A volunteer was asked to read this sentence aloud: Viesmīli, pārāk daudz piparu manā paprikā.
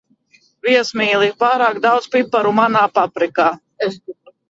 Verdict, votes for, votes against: rejected, 0, 2